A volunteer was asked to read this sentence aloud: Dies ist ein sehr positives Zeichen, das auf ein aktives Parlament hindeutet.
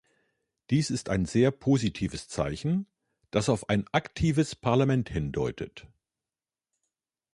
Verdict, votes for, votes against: accepted, 3, 0